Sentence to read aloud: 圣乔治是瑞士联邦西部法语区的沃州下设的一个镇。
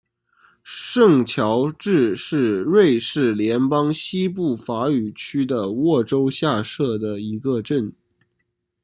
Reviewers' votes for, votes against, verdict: 2, 0, accepted